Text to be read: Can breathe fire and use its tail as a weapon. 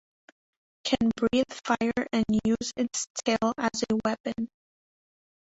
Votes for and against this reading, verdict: 1, 2, rejected